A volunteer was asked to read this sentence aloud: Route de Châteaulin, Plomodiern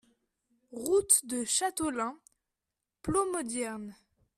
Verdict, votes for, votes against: accepted, 2, 0